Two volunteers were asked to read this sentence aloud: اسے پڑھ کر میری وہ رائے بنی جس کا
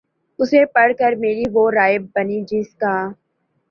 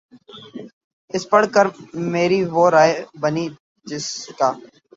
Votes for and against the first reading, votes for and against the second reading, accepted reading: 2, 0, 0, 2, first